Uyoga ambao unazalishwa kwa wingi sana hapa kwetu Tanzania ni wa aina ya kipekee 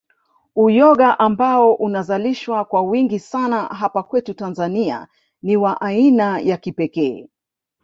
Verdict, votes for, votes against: rejected, 1, 2